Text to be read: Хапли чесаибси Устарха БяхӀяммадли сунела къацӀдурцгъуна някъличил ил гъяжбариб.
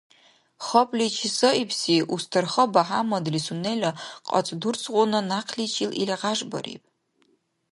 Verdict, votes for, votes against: accepted, 2, 0